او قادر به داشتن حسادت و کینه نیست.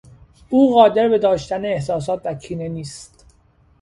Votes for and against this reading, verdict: 0, 3, rejected